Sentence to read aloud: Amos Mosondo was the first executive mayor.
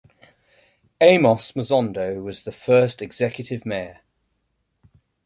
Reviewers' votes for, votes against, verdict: 2, 0, accepted